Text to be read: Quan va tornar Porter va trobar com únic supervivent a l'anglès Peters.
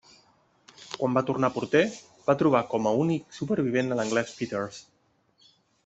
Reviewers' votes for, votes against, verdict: 0, 2, rejected